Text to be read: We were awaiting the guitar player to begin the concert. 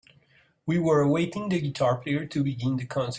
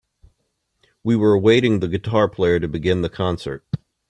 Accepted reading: second